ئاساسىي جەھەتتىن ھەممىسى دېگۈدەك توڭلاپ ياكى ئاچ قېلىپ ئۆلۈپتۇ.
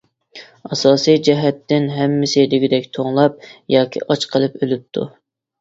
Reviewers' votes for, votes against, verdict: 2, 0, accepted